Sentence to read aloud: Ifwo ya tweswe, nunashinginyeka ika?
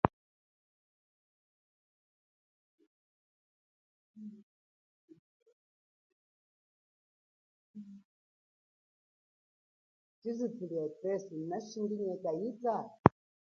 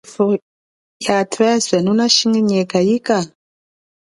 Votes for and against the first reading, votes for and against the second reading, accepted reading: 0, 2, 2, 1, second